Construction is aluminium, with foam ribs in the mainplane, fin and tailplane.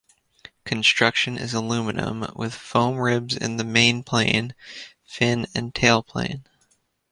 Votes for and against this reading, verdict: 2, 1, accepted